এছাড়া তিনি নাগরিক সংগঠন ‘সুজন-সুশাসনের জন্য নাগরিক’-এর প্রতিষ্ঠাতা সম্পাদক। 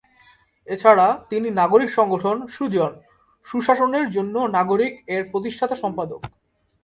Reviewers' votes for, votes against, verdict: 12, 1, accepted